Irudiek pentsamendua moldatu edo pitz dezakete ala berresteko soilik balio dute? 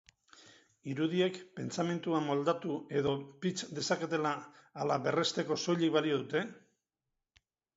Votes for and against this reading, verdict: 2, 4, rejected